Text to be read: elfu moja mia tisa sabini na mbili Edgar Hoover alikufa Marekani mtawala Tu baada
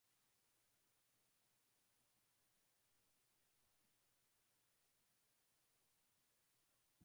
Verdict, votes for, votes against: rejected, 0, 2